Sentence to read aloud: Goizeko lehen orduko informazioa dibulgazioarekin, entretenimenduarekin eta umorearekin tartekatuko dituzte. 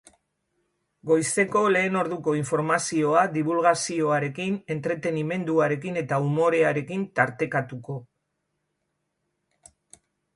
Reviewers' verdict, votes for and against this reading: rejected, 0, 2